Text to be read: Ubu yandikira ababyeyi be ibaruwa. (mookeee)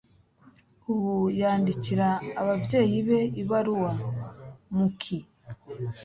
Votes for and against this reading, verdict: 2, 0, accepted